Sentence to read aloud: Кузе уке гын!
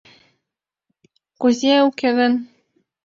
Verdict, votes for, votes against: accepted, 2, 0